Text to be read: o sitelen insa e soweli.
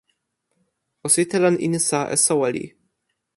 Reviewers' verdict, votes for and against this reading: accepted, 2, 1